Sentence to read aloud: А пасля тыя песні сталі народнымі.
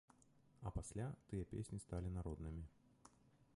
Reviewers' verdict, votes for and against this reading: rejected, 1, 2